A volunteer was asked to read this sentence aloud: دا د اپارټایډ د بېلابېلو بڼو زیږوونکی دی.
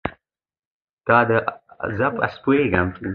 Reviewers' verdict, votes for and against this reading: accepted, 2, 1